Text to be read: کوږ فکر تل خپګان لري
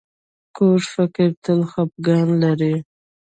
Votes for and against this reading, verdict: 1, 2, rejected